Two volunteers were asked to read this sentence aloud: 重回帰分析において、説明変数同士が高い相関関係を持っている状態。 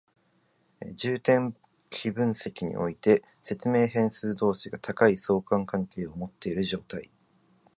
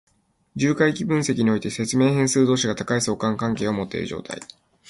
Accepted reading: second